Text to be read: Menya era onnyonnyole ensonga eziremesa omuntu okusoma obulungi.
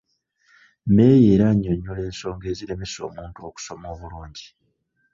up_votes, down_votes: 1, 2